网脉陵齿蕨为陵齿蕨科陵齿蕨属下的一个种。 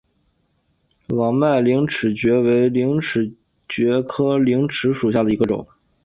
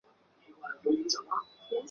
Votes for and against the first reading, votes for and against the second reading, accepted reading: 2, 0, 0, 2, first